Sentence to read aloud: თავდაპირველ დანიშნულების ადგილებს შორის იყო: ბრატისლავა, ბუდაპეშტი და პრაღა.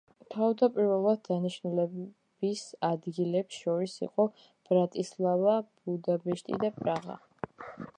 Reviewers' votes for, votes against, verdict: 1, 2, rejected